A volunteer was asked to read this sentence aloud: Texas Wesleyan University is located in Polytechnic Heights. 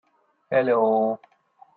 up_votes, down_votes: 0, 2